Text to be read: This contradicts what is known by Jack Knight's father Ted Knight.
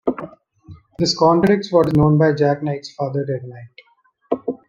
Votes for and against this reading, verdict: 0, 2, rejected